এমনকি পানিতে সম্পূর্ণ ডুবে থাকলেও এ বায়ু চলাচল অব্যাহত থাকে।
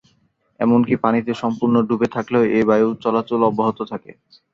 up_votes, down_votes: 3, 0